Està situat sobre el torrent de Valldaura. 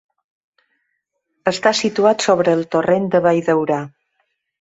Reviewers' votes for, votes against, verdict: 2, 0, accepted